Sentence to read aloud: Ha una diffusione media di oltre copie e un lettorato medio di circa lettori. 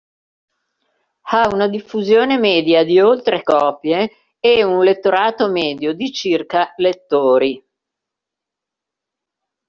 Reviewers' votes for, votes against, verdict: 1, 2, rejected